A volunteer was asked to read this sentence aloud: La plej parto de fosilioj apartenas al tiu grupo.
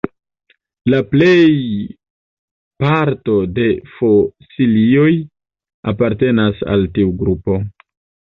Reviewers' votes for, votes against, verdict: 1, 2, rejected